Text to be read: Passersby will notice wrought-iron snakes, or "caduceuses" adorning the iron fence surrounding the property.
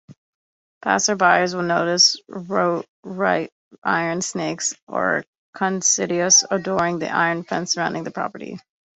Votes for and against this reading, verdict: 0, 2, rejected